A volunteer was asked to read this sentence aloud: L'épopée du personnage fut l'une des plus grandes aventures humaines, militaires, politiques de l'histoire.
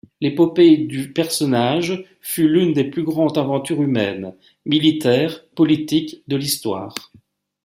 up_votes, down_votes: 2, 0